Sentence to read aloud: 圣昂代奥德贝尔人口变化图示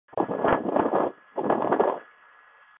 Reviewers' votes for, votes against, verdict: 0, 4, rejected